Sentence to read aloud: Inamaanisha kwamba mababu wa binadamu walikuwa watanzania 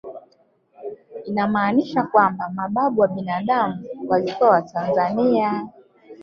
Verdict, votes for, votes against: rejected, 2, 3